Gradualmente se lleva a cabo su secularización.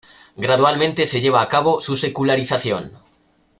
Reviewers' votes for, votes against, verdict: 2, 0, accepted